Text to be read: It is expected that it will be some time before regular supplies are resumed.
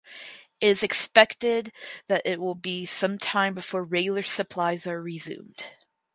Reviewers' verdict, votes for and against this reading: accepted, 4, 0